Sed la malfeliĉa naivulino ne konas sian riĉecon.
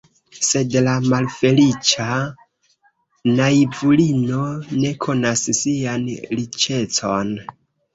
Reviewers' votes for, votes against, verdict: 0, 2, rejected